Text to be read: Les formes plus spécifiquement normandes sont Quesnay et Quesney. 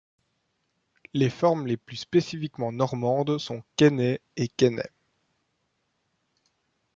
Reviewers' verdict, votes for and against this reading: rejected, 1, 2